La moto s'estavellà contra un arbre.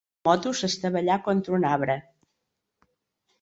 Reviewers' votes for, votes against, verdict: 2, 1, accepted